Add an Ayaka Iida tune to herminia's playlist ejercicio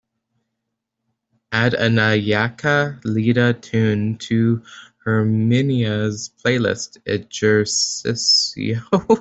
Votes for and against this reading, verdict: 1, 2, rejected